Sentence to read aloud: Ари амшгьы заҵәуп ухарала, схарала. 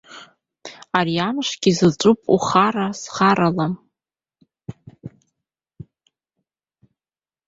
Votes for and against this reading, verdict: 0, 2, rejected